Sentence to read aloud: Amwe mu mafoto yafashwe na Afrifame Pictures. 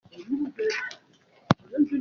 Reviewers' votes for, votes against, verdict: 0, 2, rejected